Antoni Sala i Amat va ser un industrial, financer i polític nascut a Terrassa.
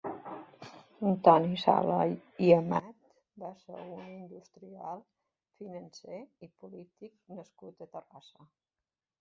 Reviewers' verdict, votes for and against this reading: rejected, 0, 2